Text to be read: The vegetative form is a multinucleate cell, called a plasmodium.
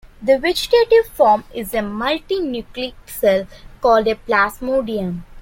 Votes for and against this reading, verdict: 2, 0, accepted